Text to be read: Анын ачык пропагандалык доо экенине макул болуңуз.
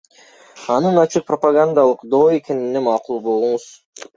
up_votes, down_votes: 0, 2